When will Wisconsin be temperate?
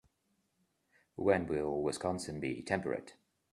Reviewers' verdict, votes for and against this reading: accepted, 3, 0